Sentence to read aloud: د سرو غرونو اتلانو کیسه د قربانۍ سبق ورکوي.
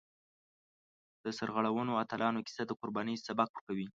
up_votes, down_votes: 1, 2